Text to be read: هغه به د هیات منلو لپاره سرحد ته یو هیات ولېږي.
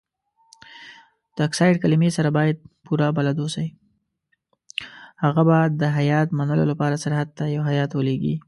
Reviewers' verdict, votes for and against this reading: rejected, 1, 2